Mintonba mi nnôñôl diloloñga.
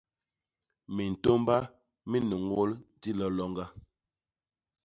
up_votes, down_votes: 0, 2